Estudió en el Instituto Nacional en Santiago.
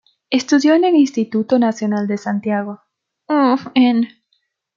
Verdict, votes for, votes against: rejected, 0, 2